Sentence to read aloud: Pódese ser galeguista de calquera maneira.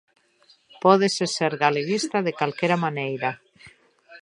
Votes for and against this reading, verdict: 0, 2, rejected